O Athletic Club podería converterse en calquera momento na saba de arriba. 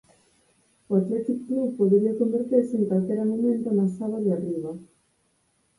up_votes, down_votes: 0, 4